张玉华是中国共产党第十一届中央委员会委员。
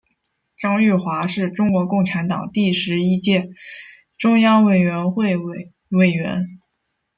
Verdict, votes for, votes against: accepted, 2, 0